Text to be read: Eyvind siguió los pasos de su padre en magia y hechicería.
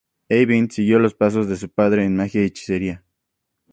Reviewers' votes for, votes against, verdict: 2, 0, accepted